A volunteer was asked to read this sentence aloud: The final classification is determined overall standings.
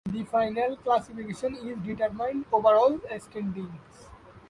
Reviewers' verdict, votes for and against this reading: rejected, 1, 2